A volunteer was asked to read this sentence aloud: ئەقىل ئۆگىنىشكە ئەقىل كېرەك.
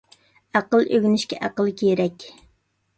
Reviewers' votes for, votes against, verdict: 2, 0, accepted